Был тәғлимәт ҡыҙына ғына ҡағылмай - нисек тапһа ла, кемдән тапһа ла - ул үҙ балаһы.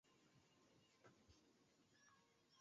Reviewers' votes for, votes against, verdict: 0, 2, rejected